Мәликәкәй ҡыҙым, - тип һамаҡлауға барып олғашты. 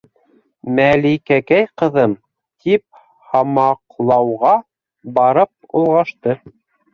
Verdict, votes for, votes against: rejected, 0, 2